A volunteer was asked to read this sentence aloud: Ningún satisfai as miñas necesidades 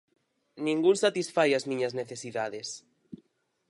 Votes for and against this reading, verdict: 4, 0, accepted